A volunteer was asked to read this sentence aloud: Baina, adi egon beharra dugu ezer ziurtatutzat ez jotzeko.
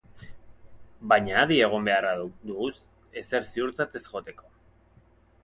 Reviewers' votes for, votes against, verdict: 0, 4, rejected